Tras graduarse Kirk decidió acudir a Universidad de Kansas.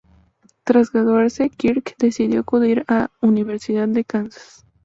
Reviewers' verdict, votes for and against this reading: accepted, 2, 0